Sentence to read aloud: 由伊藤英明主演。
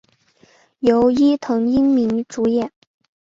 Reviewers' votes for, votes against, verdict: 5, 0, accepted